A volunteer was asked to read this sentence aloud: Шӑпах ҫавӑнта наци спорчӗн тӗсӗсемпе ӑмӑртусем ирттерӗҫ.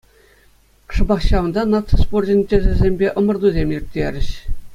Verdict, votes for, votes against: accepted, 2, 0